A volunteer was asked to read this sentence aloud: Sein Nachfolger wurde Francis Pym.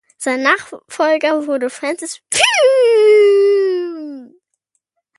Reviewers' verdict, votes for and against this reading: rejected, 0, 2